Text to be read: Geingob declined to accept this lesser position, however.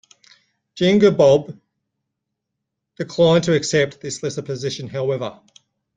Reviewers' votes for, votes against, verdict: 0, 2, rejected